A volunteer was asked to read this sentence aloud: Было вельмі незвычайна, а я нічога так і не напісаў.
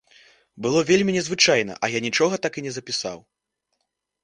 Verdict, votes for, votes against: rejected, 0, 2